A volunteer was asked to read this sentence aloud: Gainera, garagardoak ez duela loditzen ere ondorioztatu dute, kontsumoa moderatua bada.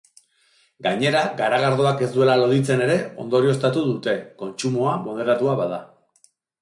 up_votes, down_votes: 2, 0